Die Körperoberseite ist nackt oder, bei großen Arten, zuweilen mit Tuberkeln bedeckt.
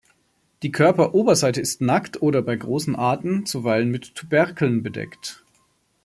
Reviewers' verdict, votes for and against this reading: accepted, 2, 0